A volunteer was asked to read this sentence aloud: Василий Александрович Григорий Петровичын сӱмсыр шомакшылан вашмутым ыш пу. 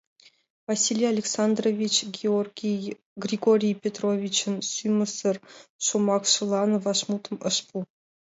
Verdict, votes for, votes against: rejected, 1, 2